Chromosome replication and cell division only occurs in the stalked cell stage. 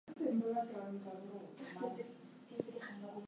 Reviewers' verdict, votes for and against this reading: rejected, 0, 2